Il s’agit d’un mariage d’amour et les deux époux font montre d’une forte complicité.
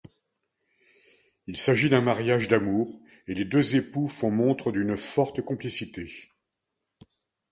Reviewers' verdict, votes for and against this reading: accepted, 2, 0